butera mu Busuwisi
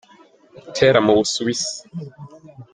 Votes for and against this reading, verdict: 2, 1, accepted